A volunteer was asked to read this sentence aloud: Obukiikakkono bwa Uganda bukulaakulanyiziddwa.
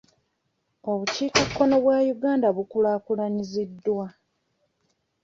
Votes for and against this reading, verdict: 2, 0, accepted